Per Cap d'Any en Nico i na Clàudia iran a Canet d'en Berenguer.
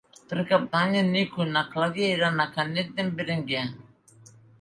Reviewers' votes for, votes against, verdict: 3, 0, accepted